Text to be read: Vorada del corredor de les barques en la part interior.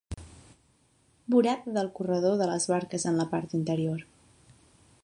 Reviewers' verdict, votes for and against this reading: rejected, 1, 2